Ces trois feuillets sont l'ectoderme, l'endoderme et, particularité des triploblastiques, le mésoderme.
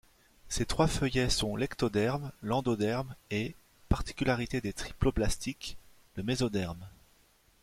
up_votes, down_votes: 2, 0